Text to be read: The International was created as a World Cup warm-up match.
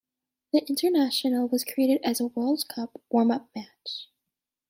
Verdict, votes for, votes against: accepted, 2, 0